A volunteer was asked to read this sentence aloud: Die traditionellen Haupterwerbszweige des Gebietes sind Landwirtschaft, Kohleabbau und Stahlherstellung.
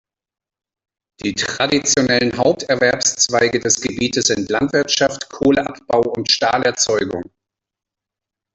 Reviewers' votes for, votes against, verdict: 0, 3, rejected